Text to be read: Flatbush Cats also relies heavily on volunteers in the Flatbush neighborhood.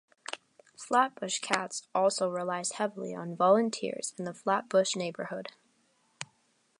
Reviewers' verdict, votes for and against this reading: accepted, 3, 1